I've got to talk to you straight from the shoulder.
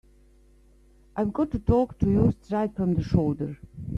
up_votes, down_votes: 1, 2